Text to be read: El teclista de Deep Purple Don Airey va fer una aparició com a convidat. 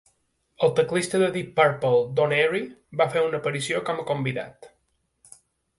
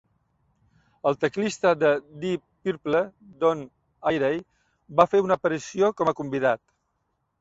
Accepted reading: first